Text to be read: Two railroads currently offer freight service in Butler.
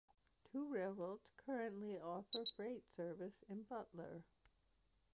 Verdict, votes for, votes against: accepted, 2, 0